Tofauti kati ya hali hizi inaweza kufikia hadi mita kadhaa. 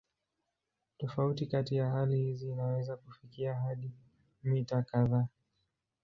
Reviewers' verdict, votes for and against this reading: rejected, 1, 2